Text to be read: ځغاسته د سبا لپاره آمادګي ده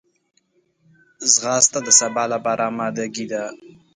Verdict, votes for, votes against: accepted, 3, 0